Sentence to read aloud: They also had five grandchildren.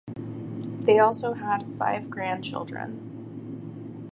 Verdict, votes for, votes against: accepted, 4, 0